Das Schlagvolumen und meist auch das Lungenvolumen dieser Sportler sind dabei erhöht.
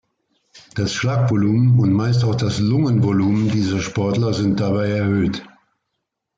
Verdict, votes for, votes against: accepted, 2, 0